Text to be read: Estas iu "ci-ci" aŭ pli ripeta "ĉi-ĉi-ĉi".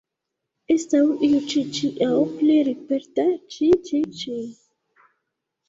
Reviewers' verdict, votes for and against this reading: rejected, 0, 2